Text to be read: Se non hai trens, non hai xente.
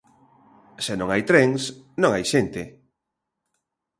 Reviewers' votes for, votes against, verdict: 2, 0, accepted